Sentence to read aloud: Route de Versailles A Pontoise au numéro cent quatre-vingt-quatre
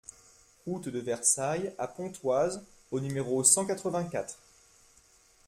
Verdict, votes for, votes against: accepted, 2, 0